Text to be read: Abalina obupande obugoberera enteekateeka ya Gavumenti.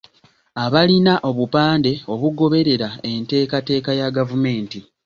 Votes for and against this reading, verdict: 2, 0, accepted